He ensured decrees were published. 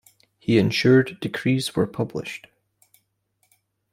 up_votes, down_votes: 2, 0